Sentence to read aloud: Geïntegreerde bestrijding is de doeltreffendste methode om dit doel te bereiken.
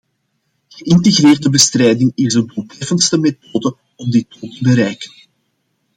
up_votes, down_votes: 0, 2